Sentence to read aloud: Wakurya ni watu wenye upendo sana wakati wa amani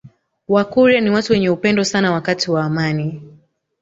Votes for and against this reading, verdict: 1, 2, rejected